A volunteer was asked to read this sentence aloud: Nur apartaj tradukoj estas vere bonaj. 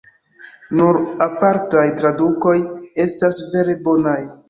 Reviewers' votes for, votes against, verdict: 2, 0, accepted